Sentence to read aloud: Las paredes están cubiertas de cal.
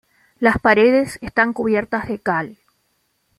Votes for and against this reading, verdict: 2, 0, accepted